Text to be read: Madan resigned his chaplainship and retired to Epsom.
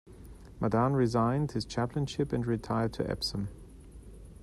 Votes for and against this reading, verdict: 2, 0, accepted